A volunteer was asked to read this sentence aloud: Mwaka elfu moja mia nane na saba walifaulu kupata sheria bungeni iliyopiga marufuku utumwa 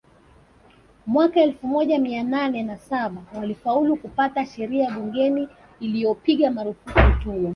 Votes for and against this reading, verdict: 1, 2, rejected